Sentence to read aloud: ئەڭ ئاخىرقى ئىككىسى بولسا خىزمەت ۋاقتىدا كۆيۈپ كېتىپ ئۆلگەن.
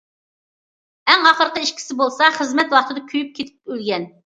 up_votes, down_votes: 2, 0